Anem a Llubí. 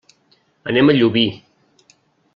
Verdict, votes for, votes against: accepted, 3, 0